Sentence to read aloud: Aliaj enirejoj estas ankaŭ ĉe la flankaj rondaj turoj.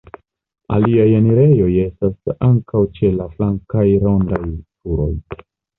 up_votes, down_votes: 2, 0